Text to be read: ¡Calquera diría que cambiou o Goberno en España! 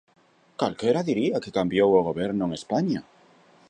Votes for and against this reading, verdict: 2, 0, accepted